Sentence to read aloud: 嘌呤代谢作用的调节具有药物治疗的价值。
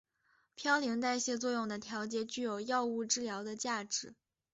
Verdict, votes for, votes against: accepted, 2, 0